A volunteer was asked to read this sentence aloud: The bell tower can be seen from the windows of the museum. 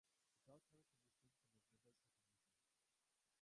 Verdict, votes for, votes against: rejected, 1, 2